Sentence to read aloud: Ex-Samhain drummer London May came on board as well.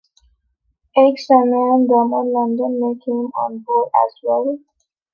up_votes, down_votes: 0, 2